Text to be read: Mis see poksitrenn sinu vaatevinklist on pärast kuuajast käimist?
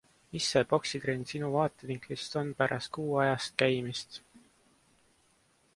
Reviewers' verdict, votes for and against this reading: accepted, 2, 0